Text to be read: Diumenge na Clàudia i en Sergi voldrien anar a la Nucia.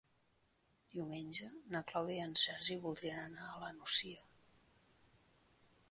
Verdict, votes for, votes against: accepted, 3, 0